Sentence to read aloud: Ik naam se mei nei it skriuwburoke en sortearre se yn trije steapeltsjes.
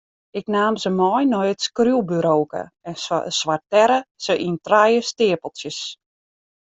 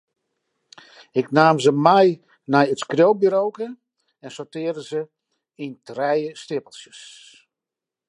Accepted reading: second